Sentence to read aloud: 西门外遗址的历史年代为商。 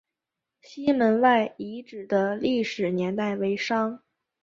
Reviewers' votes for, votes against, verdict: 4, 0, accepted